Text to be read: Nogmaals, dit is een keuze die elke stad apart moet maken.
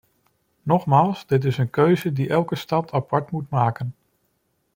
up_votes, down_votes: 2, 0